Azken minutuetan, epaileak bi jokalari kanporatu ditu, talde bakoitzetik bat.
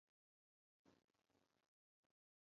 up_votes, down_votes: 0, 4